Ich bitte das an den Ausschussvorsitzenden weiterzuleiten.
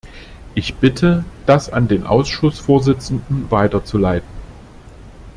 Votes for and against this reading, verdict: 2, 0, accepted